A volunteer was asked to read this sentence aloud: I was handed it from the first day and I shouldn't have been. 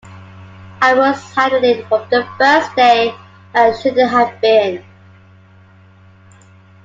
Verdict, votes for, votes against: accepted, 2, 1